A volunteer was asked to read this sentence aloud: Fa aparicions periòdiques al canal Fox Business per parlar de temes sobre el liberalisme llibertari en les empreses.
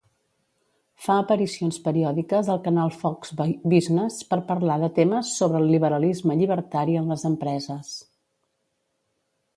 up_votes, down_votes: 0, 2